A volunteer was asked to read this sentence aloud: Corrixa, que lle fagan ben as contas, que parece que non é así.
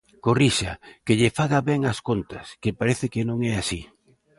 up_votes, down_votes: 1, 2